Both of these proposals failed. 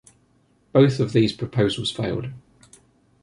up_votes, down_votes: 2, 0